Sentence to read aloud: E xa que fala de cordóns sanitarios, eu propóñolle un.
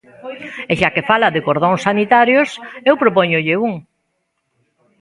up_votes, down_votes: 1, 2